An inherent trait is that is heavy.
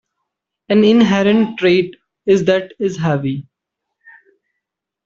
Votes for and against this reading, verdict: 1, 2, rejected